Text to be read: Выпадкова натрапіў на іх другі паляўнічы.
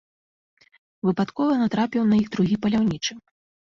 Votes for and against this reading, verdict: 2, 0, accepted